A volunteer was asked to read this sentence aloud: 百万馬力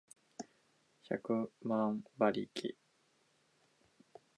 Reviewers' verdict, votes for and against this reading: accepted, 2, 0